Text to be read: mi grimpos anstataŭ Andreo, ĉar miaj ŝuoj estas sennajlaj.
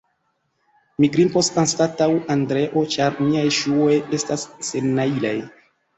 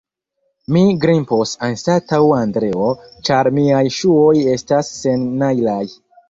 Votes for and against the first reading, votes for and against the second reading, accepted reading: 2, 0, 2, 3, first